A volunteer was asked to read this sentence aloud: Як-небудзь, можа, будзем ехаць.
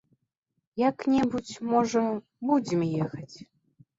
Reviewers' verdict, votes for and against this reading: accepted, 2, 0